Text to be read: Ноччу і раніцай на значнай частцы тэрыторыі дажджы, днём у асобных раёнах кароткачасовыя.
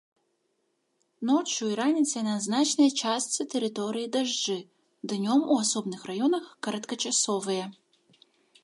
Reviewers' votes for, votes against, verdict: 0, 2, rejected